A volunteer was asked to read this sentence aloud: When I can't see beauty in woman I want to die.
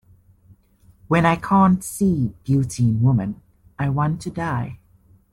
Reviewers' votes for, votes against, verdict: 2, 0, accepted